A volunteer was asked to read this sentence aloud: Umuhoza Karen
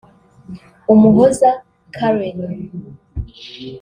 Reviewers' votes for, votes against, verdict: 2, 1, accepted